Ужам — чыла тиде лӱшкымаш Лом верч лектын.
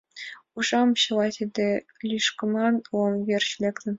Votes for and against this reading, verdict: 2, 0, accepted